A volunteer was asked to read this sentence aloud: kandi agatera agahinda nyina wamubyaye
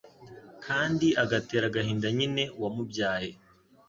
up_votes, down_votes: 0, 2